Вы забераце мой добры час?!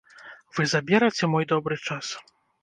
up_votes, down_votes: 1, 2